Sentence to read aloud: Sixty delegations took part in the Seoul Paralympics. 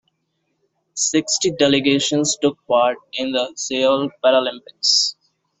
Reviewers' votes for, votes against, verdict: 0, 2, rejected